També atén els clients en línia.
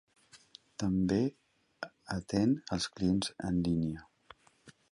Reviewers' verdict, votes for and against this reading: rejected, 0, 2